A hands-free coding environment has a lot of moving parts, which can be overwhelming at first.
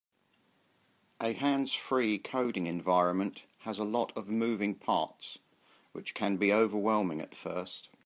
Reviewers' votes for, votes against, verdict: 2, 0, accepted